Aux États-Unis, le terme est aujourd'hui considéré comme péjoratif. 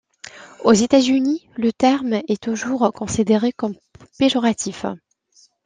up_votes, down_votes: 0, 2